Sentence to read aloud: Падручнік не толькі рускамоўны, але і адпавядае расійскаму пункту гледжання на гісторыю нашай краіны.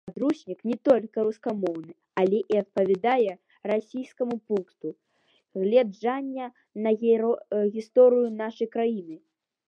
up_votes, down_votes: 0, 2